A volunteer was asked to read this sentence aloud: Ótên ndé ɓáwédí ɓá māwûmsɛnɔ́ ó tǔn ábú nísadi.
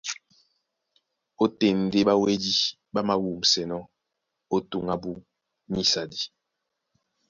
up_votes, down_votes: 2, 0